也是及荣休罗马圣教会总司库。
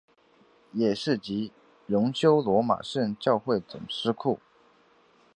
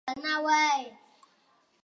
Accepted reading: first